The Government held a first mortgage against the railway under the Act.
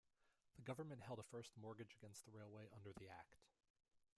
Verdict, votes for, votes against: accepted, 2, 1